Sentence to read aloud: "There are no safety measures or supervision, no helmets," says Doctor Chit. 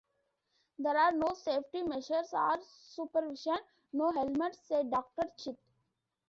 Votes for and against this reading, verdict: 0, 2, rejected